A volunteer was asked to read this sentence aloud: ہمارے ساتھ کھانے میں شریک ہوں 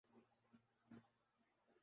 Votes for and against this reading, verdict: 2, 8, rejected